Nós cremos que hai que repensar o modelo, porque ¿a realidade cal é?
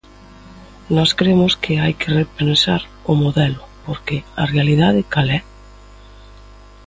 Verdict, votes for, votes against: accepted, 2, 0